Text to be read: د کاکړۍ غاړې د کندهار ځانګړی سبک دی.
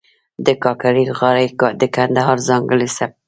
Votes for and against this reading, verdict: 0, 2, rejected